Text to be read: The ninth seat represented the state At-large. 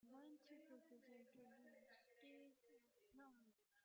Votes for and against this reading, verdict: 0, 2, rejected